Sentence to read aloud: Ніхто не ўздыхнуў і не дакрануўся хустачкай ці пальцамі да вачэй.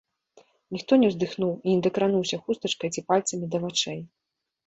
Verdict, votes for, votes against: accepted, 2, 0